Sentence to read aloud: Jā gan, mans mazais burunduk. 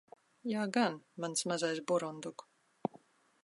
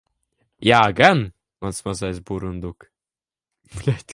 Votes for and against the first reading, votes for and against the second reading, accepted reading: 2, 0, 0, 2, first